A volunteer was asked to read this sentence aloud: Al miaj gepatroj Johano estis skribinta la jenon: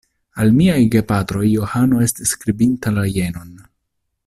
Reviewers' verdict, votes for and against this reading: accepted, 2, 0